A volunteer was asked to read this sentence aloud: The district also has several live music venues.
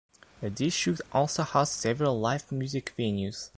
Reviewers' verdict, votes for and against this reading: rejected, 0, 2